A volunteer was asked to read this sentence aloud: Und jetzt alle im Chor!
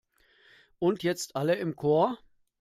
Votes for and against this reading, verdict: 2, 0, accepted